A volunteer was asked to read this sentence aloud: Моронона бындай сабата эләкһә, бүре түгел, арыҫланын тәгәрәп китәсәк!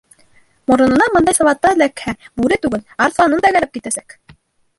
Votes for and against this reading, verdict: 0, 2, rejected